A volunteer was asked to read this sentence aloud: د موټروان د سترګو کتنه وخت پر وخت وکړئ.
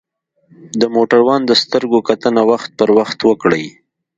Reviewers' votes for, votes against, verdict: 2, 0, accepted